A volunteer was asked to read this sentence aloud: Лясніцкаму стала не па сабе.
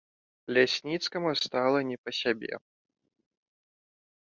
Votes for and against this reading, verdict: 1, 2, rejected